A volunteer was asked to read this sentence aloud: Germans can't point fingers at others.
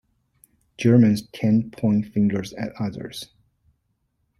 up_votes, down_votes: 1, 2